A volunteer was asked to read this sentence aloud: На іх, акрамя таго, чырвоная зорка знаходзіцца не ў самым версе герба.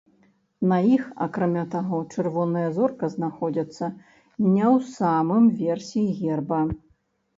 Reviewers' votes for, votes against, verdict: 1, 2, rejected